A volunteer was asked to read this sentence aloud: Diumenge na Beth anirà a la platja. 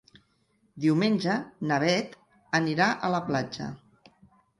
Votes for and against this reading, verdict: 3, 0, accepted